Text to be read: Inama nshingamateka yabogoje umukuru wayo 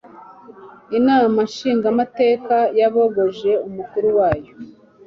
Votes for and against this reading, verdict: 2, 0, accepted